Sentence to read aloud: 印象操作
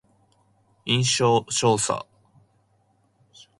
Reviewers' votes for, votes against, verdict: 0, 2, rejected